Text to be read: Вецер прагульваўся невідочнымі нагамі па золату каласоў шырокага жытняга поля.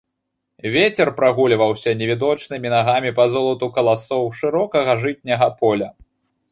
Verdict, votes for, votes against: accepted, 2, 0